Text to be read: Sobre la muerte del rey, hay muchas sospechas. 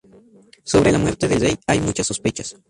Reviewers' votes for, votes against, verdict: 0, 2, rejected